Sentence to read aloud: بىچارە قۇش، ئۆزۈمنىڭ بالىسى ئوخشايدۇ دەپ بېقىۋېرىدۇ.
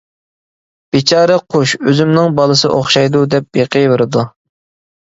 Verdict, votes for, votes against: accepted, 2, 0